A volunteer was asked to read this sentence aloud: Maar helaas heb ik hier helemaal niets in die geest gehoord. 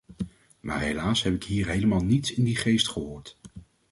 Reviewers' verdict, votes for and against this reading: accepted, 2, 0